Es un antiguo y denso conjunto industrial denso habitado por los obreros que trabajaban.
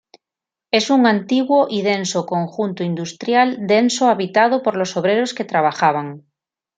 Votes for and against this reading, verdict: 2, 0, accepted